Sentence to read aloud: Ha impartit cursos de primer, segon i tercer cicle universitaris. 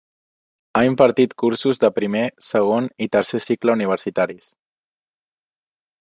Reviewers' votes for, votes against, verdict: 3, 1, accepted